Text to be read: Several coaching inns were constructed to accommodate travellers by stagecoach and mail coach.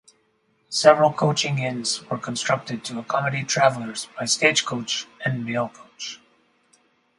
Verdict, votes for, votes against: rejected, 0, 2